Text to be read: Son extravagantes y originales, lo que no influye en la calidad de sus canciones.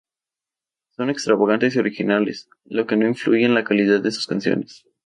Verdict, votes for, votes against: accepted, 2, 0